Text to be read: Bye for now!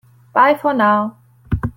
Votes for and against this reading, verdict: 2, 0, accepted